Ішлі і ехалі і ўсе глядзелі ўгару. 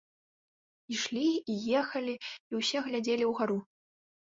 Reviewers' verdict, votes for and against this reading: accepted, 2, 0